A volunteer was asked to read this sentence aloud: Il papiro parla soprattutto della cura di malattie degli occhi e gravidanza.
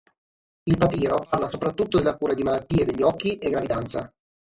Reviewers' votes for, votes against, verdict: 3, 6, rejected